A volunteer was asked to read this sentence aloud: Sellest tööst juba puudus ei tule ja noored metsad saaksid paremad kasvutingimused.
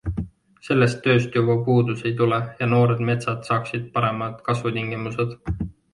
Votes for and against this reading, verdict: 2, 0, accepted